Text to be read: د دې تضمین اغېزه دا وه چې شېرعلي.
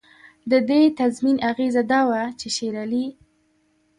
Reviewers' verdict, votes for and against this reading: rejected, 0, 2